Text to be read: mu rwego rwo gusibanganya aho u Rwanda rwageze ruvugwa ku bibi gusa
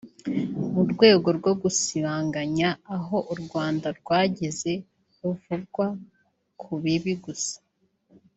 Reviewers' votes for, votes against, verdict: 1, 2, rejected